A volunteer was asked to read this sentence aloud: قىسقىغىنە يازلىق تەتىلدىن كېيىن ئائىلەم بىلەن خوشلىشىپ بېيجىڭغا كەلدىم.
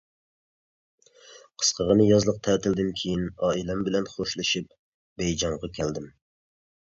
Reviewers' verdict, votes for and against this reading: accepted, 2, 0